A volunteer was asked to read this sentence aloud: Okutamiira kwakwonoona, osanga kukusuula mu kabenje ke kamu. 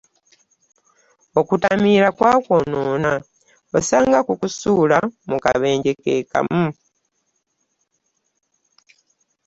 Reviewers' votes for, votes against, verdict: 2, 0, accepted